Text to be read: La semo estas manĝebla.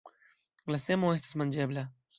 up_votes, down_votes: 2, 0